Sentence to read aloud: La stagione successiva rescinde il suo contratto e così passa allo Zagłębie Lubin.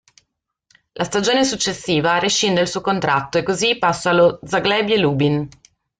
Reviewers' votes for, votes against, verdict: 2, 1, accepted